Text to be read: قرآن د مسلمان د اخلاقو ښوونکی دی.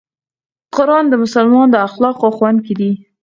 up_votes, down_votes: 0, 4